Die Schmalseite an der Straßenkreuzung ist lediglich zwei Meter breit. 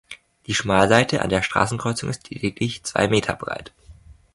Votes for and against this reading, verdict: 2, 0, accepted